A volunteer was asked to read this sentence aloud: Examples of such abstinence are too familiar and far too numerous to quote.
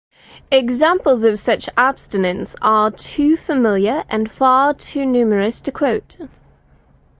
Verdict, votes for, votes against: rejected, 0, 4